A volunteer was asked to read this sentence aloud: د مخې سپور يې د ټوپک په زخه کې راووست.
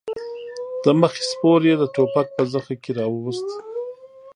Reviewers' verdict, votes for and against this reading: accepted, 2, 0